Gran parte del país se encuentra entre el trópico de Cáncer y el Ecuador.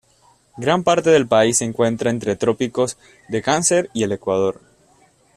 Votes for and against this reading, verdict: 0, 2, rejected